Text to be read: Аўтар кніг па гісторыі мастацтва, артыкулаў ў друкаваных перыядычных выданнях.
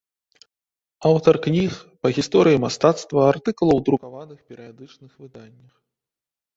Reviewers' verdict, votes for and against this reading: accepted, 2, 0